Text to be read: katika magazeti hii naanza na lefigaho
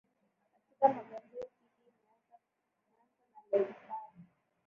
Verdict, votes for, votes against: rejected, 0, 2